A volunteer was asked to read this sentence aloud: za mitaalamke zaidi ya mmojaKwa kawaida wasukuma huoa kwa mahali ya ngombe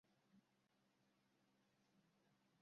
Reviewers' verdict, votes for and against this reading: rejected, 0, 2